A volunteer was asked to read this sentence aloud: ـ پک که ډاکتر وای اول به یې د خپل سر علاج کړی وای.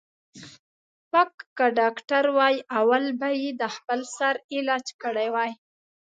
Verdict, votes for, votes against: accepted, 2, 0